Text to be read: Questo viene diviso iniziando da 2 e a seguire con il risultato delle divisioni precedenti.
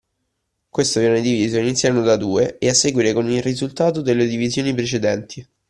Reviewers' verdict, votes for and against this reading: rejected, 0, 2